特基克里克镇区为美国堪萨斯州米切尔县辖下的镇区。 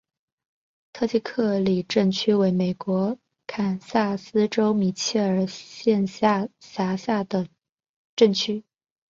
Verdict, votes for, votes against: accepted, 2, 0